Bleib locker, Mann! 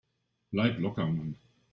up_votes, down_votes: 2, 0